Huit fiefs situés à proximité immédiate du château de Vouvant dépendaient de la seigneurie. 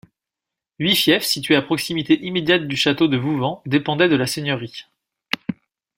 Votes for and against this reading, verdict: 2, 0, accepted